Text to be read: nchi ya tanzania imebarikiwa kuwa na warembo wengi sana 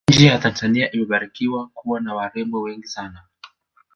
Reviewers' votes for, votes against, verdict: 0, 2, rejected